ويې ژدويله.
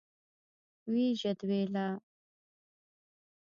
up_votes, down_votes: 1, 2